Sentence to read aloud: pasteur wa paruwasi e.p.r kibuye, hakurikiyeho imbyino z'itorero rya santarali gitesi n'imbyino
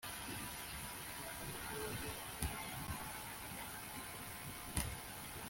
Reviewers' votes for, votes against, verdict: 1, 2, rejected